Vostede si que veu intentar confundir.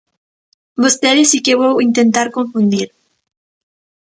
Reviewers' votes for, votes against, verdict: 0, 2, rejected